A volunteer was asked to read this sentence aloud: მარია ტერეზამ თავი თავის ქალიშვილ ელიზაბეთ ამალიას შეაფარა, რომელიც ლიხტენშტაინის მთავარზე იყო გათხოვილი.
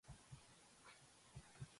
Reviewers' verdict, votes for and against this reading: rejected, 0, 2